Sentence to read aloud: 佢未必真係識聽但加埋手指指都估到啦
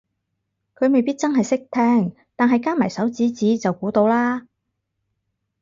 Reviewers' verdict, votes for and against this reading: rejected, 0, 4